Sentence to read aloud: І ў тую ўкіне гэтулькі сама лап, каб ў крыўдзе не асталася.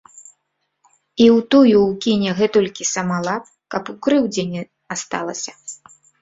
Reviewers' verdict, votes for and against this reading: accepted, 2, 1